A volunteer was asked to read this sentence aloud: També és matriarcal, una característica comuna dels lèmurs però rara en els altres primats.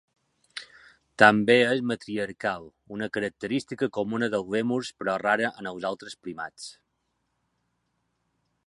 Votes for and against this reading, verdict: 2, 3, rejected